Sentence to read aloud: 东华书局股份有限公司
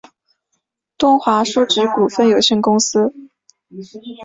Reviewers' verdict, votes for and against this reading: accepted, 4, 0